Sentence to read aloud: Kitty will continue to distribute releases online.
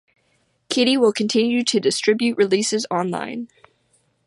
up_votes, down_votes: 2, 0